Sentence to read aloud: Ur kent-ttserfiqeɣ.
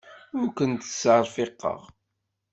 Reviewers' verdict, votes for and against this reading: accepted, 2, 0